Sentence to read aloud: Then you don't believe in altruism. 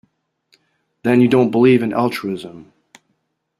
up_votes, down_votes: 2, 0